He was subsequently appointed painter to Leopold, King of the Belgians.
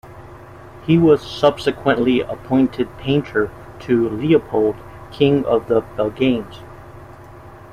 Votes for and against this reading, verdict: 1, 2, rejected